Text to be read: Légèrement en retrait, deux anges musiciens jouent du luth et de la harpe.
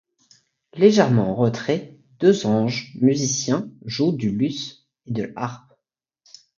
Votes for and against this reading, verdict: 2, 0, accepted